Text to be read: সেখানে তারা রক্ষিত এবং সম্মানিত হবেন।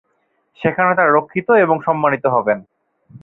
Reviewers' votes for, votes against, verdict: 0, 2, rejected